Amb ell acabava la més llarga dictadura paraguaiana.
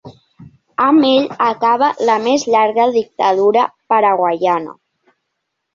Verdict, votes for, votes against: rejected, 0, 2